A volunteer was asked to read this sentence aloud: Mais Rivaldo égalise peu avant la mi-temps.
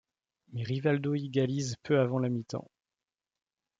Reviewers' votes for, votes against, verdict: 1, 2, rejected